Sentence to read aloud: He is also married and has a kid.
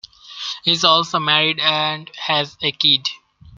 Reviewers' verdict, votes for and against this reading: accepted, 2, 0